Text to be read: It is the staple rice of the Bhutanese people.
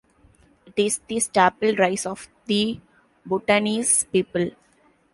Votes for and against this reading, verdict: 2, 1, accepted